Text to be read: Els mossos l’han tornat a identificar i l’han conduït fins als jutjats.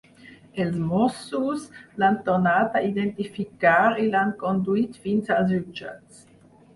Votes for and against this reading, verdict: 4, 0, accepted